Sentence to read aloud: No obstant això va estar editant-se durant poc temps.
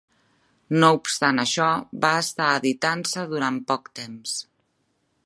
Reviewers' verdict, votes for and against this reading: accepted, 3, 0